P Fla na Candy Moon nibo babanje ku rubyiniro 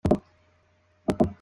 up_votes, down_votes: 0, 2